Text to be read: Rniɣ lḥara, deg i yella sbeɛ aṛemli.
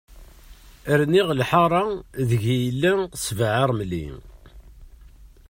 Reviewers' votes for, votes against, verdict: 2, 0, accepted